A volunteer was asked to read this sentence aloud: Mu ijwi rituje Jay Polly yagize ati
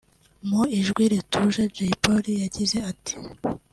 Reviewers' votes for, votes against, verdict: 2, 0, accepted